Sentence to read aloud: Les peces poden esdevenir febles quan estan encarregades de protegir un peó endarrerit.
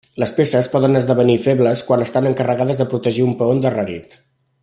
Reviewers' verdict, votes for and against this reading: accepted, 2, 0